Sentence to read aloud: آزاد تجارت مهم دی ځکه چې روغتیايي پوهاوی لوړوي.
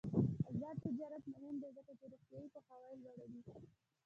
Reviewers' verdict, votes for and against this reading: rejected, 1, 2